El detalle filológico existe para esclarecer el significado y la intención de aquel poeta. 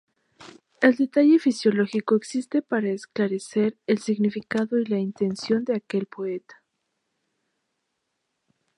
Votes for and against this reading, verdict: 2, 0, accepted